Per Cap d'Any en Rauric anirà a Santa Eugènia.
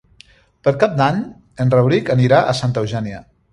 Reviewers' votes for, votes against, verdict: 3, 0, accepted